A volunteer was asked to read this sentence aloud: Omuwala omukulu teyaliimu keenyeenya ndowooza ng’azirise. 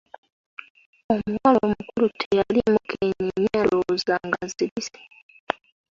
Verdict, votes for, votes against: accepted, 2, 0